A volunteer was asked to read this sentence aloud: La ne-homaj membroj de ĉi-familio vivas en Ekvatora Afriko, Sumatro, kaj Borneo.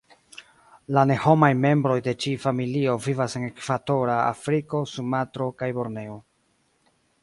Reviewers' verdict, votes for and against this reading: accepted, 2, 0